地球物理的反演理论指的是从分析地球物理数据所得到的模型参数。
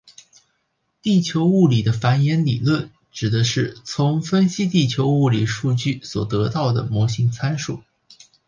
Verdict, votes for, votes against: accepted, 4, 0